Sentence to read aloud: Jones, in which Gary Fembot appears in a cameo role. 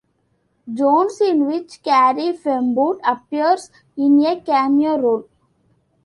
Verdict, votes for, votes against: rejected, 0, 2